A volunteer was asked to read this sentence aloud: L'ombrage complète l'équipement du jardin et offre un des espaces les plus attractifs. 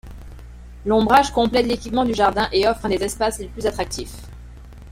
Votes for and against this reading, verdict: 2, 3, rejected